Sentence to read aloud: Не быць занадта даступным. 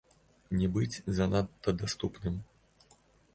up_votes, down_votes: 2, 0